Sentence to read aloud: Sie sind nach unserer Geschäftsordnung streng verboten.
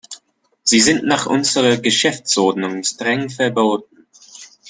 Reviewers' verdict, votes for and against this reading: accepted, 2, 0